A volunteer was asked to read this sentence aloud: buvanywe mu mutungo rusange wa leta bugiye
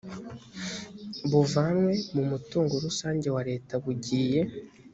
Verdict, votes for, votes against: accepted, 2, 0